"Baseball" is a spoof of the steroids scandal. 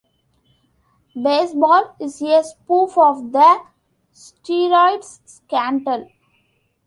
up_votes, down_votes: 2, 1